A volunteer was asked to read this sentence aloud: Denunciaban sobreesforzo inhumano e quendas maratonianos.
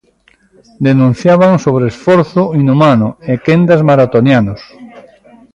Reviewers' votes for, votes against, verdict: 1, 2, rejected